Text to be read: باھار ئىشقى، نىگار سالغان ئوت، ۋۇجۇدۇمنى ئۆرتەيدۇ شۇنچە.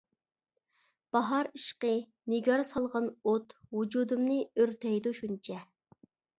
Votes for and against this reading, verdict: 2, 0, accepted